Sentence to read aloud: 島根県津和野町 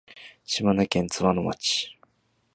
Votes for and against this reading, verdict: 2, 1, accepted